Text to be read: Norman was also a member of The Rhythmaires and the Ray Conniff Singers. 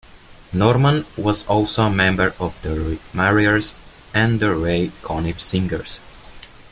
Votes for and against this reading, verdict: 1, 2, rejected